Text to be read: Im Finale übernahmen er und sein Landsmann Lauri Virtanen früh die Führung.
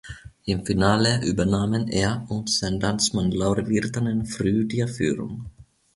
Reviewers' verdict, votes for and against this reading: accepted, 2, 0